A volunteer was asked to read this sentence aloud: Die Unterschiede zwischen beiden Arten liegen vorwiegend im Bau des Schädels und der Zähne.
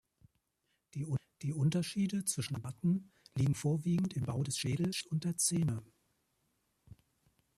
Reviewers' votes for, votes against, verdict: 1, 2, rejected